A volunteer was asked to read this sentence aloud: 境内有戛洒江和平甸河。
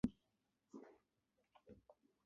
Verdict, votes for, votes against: rejected, 0, 5